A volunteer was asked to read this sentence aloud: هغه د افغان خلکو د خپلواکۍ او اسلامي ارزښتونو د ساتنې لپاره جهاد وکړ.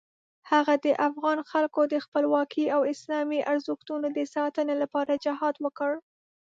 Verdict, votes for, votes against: accepted, 2, 0